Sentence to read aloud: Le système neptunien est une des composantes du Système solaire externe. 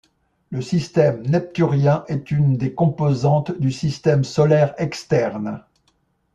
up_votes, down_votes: 1, 2